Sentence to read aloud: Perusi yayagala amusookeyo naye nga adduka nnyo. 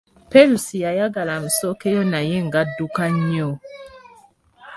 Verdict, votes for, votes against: accepted, 2, 0